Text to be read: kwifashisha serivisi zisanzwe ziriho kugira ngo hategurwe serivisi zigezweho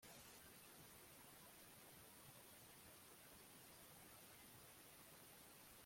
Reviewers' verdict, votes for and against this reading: rejected, 0, 2